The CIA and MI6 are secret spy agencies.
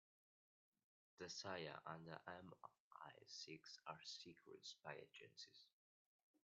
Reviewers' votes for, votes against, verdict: 0, 2, rejected